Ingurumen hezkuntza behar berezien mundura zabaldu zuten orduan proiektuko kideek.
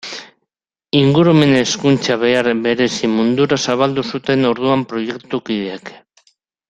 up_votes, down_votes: 0, 2